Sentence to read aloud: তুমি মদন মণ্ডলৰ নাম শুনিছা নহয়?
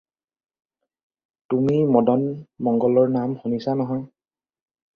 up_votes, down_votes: 2, 4